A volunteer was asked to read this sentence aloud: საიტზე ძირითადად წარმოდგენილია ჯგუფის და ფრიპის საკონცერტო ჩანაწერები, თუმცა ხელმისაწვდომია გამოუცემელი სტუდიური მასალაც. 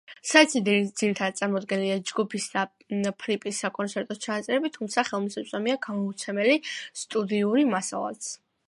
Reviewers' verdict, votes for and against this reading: accepted, 2, 0